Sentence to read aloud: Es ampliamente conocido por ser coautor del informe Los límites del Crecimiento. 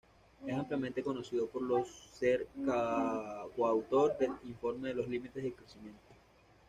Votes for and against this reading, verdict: 2, 0, accepted